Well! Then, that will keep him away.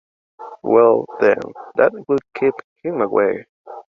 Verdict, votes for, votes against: accepted, 2, 0